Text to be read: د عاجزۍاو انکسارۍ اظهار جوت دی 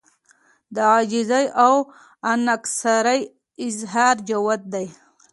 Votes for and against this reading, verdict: 2, 0, accepted